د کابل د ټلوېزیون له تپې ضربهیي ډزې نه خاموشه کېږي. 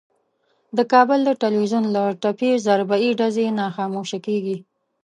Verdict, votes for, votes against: rejected, 1, 2